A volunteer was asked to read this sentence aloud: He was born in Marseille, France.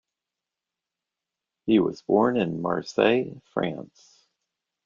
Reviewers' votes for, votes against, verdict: 2, 0, accepted